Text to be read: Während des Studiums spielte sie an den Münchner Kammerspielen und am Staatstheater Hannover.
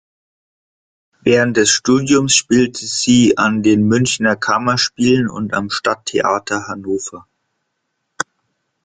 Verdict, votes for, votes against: rejected, 0, 2